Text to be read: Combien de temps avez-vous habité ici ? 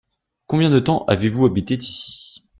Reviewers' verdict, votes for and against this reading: rejected, 1, 2